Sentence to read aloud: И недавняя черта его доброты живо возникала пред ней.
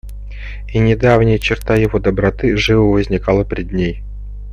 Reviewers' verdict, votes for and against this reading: accepted, 2, 0